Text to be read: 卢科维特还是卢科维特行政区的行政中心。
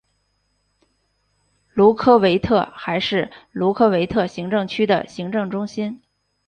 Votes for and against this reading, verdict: 2, 0, accepted